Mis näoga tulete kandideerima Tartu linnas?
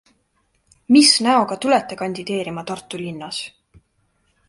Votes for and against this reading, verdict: 3, 0, accepted